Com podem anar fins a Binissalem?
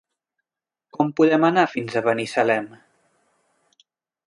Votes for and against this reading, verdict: 0, 2, rejected